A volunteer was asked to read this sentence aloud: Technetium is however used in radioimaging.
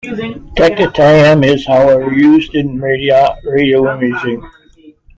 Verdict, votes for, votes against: rejected, 0, 2